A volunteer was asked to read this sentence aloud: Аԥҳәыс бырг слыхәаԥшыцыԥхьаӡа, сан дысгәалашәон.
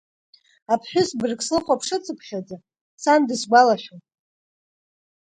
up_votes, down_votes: 2, 0